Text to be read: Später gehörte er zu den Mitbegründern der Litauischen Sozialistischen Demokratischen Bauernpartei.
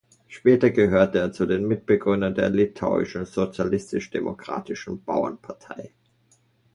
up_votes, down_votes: 1, 2